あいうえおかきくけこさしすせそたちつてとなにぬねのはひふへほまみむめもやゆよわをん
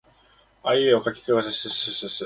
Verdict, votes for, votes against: rejected, 1, 2